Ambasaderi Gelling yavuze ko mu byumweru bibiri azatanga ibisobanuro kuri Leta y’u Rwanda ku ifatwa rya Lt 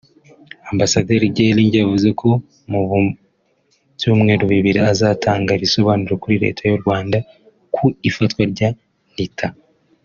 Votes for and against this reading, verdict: 1, 2, rejected